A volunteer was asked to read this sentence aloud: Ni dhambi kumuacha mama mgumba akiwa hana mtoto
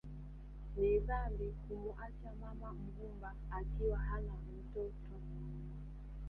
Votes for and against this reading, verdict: 0, 2, rejected